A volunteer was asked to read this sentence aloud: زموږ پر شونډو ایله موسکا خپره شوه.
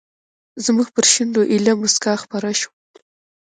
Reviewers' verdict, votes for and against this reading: accepted, 2, 1